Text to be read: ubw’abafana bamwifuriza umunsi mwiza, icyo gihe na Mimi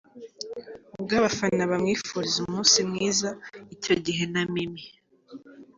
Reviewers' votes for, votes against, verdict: 3, 0, accepted